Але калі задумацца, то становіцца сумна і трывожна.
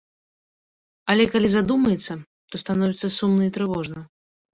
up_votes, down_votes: 0, 3